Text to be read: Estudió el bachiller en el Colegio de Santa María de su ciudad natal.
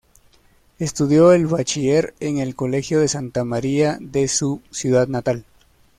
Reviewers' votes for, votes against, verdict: 2, 0, accepted